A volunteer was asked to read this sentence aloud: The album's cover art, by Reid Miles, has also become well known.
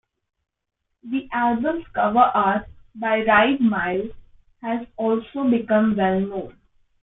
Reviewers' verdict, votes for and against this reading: rejected, 1, 2